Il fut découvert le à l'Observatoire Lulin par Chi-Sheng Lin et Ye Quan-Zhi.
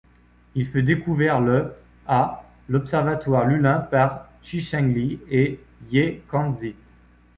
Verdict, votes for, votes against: rejected, 1, 2